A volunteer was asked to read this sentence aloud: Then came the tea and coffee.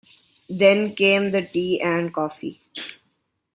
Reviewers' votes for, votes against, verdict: 2, 1, accepted